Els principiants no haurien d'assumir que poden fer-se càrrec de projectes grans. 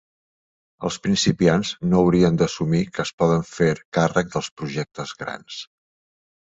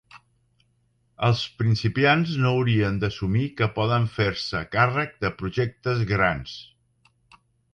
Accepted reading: second